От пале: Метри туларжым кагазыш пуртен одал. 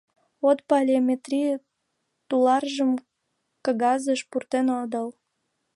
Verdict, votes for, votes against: rejected, 1, 2